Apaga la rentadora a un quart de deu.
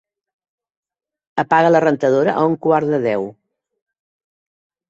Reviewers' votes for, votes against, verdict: 3, 0, accepted